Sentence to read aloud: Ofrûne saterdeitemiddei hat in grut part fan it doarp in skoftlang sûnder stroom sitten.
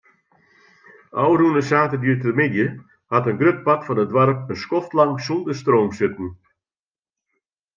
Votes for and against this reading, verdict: 2, 0, accepted